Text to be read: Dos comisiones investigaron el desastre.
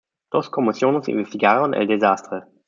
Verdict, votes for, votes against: rejected, 1, 2